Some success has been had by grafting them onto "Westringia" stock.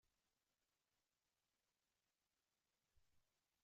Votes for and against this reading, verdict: 0, 2, rejected